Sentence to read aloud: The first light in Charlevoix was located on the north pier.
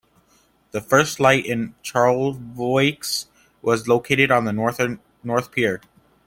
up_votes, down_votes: 1, 2